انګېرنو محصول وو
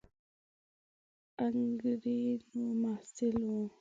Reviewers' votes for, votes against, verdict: 1, 2, rejected